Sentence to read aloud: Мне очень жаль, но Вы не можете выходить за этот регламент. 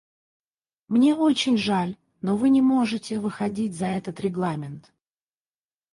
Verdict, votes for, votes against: rejected, 0, 4